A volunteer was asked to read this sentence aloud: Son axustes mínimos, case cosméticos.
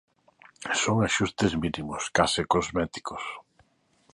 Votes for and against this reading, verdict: 2, 0, accepted